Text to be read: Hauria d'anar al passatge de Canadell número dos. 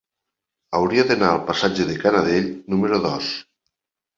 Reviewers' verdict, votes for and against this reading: accepted, 3, 0